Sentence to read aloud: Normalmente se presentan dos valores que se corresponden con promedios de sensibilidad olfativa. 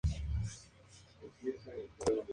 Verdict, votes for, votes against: rejected, 0, 2